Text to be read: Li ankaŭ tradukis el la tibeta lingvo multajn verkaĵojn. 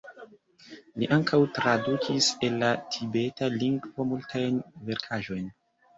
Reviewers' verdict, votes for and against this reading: accepted, 2, 0